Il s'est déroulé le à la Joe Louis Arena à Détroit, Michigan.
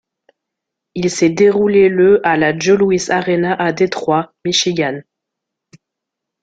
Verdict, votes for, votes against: rejected, 1, 2